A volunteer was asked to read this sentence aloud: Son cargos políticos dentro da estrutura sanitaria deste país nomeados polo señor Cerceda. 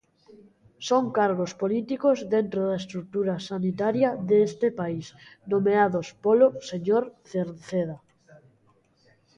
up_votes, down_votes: 2, 0